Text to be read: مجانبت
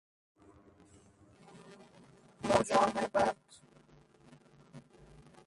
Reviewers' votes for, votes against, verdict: 0, 2, rejected